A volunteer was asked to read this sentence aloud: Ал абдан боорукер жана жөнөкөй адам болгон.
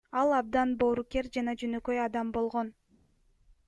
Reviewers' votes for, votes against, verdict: 2, 1, accepted